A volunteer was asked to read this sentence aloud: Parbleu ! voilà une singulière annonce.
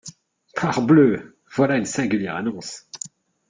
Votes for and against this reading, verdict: 2, 0, accepted